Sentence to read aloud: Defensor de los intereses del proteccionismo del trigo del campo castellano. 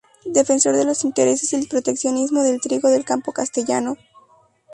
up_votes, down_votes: 0, 2